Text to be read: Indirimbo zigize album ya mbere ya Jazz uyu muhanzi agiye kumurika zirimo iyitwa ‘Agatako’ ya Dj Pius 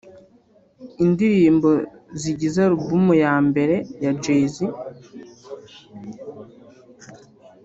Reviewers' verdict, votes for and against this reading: rejected, 0, 2